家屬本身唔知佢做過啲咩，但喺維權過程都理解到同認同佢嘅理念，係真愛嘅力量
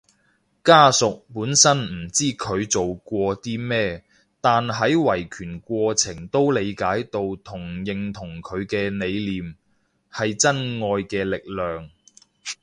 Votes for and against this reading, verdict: 2, 0, accepted